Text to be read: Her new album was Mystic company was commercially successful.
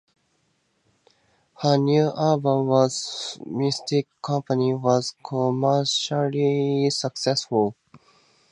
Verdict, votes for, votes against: accepted, 2, 0